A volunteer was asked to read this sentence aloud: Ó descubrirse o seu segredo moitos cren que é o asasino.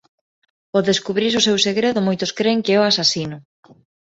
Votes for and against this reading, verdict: 2, 0, accepted